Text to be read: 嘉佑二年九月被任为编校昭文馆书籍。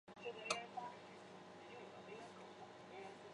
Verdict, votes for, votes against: rejected, 0, 2